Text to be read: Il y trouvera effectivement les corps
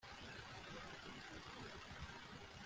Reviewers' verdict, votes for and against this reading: rejected, 0, 2